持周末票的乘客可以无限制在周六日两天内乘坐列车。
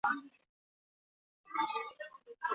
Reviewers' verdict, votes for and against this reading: rejected, 0, 3